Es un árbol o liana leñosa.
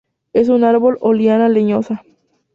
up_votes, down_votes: 2, 0